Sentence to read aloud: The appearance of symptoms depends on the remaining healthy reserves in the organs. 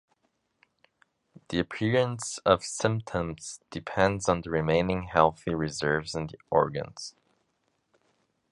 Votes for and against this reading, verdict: 2, 0, accepted